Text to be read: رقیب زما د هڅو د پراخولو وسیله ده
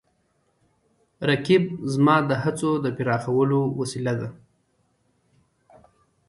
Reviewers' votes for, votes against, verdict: 2, 1, accepted